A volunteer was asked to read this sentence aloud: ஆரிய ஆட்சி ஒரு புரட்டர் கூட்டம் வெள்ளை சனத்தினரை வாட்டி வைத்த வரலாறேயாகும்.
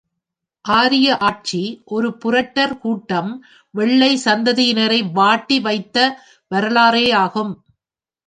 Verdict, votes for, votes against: rejected, 1, 2